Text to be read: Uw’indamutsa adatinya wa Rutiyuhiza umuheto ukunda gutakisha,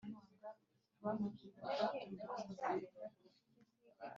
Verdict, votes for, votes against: rejected, 0, 2